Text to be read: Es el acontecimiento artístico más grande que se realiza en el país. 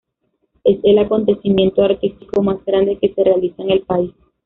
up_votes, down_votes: 1, 2